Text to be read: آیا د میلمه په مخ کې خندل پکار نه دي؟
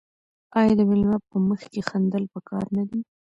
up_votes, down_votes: 1, 2